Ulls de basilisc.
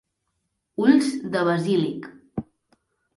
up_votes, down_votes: 0, 2